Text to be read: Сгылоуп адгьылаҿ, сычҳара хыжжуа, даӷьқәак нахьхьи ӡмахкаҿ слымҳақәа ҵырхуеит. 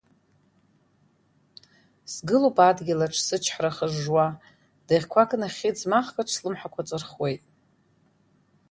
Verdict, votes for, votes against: accepted, 2, 0